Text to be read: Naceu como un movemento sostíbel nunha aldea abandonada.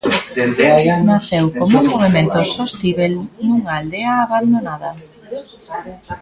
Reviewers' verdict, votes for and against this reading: rejected, 0, 2